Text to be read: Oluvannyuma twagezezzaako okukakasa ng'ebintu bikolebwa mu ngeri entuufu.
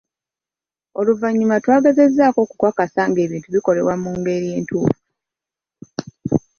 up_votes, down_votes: 2, 0